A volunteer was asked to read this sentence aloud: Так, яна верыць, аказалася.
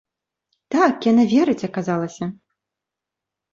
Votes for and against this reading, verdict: 2, 0, accepted